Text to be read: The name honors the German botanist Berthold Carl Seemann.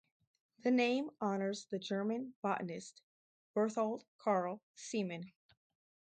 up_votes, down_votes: 0, 2